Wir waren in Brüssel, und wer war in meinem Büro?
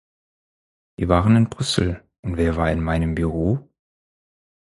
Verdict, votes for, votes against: accepted, 4, 0